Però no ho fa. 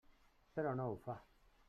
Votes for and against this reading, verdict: 3, 0, accepted